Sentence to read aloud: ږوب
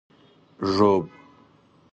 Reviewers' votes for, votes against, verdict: 2, 0, accepted